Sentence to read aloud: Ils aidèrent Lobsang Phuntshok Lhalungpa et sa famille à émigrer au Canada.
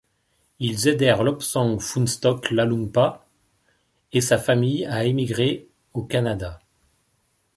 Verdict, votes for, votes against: accepted, 2, 0